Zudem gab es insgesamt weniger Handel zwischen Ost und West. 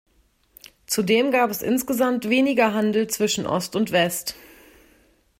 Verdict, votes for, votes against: accepted, 2, 0